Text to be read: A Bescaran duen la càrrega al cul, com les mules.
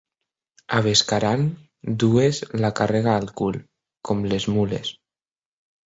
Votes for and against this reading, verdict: 0, 4, rejected